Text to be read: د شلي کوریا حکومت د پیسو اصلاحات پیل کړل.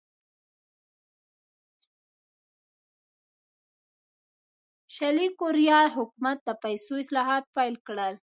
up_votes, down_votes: 1, 2